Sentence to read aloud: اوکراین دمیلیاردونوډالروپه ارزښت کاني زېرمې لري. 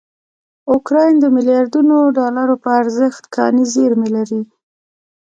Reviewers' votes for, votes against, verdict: 2, 0, accepted